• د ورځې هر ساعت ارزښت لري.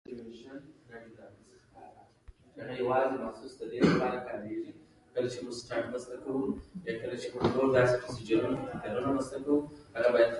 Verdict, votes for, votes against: rejected, 0, 2